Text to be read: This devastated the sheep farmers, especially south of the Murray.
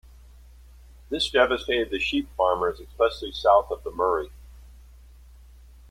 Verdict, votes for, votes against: accepted, 2, 1